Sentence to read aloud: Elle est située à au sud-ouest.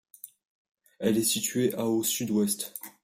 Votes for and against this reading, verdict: 2, 0, accepted